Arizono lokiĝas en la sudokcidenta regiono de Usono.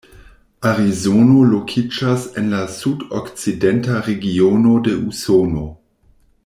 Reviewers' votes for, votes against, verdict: 2, 0, accepted